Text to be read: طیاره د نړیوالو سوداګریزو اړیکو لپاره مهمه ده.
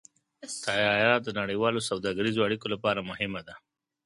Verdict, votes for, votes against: rejected, 1, 2